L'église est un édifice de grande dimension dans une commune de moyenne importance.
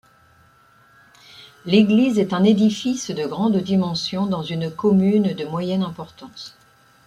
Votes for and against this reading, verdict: 2, 0, accepted